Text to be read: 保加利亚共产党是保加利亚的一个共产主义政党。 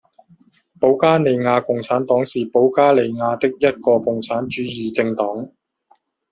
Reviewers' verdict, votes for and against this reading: accepted, 2, 1